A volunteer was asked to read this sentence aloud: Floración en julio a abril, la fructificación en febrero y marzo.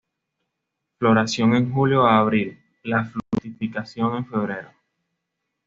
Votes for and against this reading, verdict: 0, 2, rejected